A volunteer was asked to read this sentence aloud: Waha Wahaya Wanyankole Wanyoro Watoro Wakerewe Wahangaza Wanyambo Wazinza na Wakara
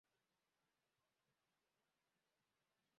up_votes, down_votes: 1, 2